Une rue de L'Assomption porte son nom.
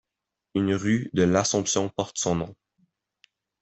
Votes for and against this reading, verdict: 2, 0, accepted